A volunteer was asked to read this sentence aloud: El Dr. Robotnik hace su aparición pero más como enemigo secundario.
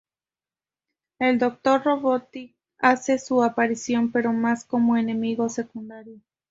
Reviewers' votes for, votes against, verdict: 0, 2, rejected